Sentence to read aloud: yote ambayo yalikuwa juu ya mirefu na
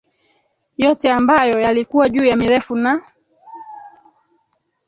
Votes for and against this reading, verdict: 3, 4, rejected